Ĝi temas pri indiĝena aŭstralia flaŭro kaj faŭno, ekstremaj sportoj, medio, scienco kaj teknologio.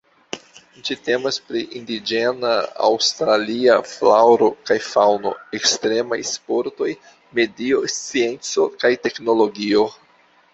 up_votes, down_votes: 1, 2